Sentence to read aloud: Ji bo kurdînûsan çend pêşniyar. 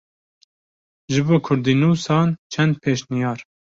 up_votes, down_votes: 2, 0